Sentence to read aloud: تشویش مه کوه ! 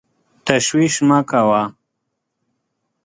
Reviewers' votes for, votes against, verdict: 2, 0, accepted